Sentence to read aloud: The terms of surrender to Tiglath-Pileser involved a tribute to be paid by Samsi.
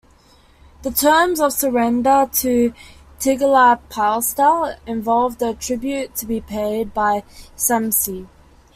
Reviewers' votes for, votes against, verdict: 2, 0, accepted